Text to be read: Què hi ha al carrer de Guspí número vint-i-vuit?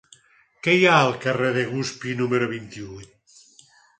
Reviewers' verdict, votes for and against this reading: accepted, 4, 2